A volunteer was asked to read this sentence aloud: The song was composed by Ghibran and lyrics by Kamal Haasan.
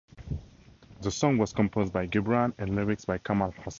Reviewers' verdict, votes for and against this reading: rejected, 0, 2